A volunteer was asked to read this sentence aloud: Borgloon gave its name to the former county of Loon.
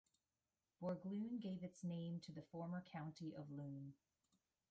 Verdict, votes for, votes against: rejected, 1, 2